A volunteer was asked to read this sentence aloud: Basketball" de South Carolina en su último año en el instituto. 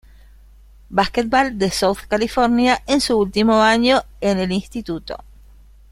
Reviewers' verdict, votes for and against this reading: rejected, 1, 2